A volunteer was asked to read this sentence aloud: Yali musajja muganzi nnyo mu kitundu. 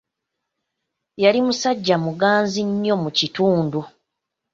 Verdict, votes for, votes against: accepted, 2, 1